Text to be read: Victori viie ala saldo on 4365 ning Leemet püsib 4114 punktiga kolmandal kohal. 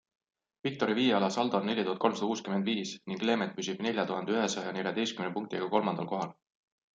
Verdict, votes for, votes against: rejected, 0, 2